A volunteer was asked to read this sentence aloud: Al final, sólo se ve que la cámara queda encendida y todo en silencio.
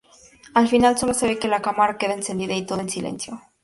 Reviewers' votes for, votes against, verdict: 2, 0, accepted